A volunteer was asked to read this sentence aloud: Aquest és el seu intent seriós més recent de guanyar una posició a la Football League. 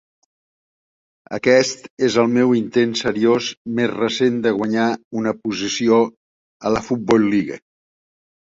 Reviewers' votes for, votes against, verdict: 0, 2, rejected